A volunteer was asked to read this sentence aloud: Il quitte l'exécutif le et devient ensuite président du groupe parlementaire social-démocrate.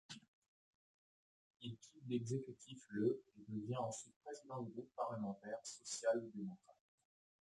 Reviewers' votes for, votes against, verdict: 0, 2, rejected